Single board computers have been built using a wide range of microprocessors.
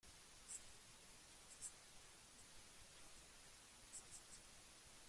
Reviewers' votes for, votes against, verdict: 0, 2, rejected